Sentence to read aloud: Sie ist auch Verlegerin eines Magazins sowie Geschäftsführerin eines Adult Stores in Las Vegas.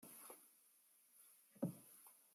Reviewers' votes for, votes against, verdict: 0, 2, rejected